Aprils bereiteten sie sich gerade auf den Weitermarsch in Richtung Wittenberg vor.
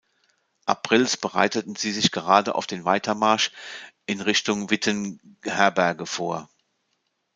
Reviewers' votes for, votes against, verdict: 0, 2, rejected